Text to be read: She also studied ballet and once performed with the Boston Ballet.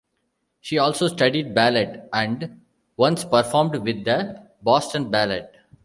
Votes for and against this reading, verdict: 0, 2, rejected